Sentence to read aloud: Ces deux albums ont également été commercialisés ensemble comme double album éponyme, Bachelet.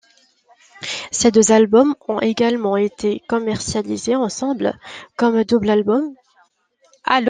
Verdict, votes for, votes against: rejected, 0, 2